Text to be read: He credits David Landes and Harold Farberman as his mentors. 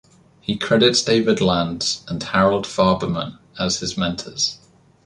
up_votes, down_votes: 2, 0